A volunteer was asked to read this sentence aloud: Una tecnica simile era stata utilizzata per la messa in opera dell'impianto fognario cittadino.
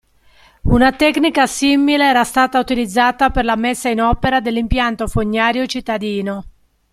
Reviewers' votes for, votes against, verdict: 2, 0, accepted